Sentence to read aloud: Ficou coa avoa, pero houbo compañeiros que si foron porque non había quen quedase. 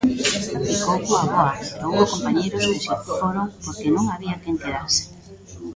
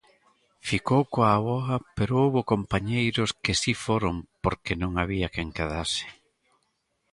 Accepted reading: second